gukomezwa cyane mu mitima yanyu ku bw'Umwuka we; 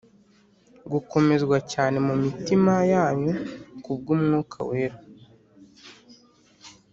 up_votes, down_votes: 2, 1